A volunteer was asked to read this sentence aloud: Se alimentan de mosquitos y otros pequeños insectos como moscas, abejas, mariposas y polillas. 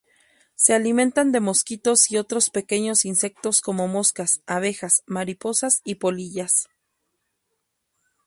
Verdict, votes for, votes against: accepted, 2, 0